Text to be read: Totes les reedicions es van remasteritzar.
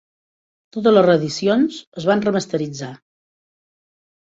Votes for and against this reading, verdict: 4, 1, accepted